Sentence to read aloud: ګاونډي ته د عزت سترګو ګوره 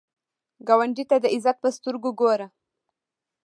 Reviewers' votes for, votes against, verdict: 0, 2, rejected